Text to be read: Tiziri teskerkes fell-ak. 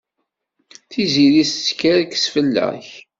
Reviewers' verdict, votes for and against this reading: accepted, 2, 0